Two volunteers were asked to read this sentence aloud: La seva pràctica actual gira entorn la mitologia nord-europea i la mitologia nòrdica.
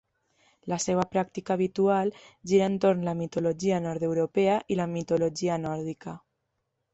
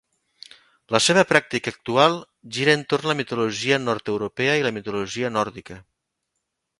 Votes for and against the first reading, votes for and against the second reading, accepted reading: 0, 2, 3, 0, second